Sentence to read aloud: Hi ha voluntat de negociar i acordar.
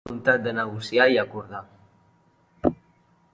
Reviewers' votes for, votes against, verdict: 1, 2, rejected